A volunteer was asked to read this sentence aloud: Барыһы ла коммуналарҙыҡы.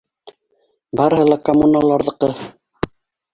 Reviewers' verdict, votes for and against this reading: accepted, 3, 2